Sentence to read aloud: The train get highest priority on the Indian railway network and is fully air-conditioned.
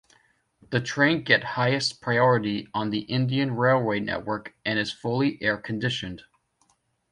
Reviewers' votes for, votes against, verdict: 2, 0, accepted